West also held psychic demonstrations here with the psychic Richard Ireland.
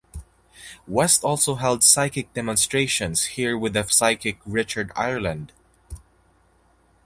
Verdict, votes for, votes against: accepted, 4, 0